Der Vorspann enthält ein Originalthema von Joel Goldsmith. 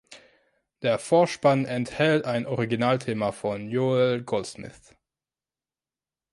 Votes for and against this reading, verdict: 2, 1, accepted